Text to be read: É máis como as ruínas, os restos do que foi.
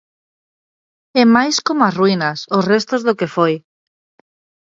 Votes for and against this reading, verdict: 2, 0, accepted